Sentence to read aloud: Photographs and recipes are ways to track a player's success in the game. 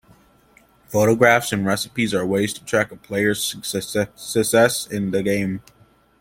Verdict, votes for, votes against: rejected, 1, 2